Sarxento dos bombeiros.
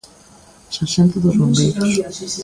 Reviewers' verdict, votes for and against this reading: rejected, 0, 2